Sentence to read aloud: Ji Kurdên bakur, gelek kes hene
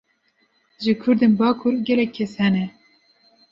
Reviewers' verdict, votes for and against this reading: accepted, 2, 0